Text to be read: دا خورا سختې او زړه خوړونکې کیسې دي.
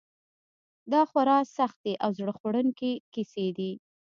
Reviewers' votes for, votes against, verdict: 2, 0, accepted